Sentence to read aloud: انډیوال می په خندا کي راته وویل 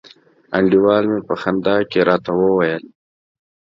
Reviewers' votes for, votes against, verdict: 2, 0, accepted